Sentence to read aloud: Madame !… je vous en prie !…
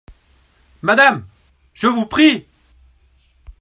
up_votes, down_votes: 0, 2